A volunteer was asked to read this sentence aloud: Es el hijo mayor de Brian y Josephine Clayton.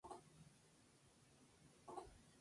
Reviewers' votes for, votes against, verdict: 0, 2, rejected